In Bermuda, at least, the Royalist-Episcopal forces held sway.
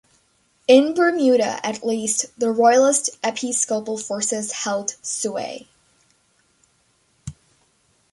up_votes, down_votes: 2, 1